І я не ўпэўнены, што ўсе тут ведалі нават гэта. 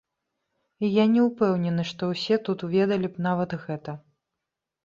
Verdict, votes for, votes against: rejected, 1, 2